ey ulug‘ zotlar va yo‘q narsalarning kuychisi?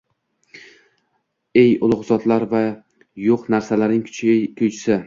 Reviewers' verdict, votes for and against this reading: rejected, 0, 2